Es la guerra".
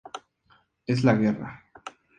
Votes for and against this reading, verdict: 2, 0, accepted